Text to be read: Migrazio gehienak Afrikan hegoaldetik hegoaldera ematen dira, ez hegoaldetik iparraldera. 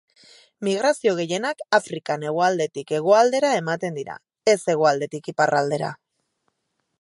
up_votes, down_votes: 4, 0